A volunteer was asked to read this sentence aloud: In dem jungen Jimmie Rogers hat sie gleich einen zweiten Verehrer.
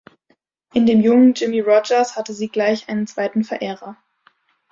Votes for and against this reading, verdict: 1, 2, rejected